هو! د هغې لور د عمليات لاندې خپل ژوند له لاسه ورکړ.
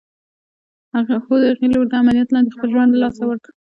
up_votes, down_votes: 2, 0